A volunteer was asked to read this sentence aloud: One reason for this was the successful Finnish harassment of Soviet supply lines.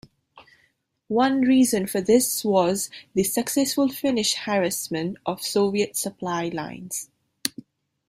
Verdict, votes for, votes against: accepted, 3, 0